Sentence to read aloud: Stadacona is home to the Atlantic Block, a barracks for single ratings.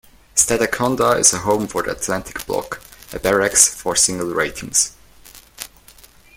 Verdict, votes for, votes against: rejected, 0, 2